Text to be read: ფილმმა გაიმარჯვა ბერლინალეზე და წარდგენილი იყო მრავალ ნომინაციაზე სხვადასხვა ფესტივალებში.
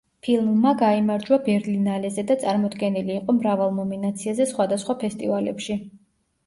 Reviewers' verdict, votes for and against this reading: rejected, 1, 2